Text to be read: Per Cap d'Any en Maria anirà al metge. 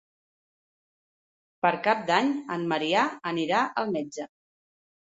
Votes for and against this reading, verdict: 0, 2, rejected